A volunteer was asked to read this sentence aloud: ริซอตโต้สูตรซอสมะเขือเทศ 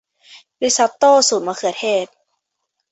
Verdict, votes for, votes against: accepted, 2, 1